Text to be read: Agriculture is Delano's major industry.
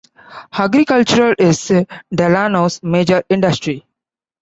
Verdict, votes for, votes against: accepted, 2, 1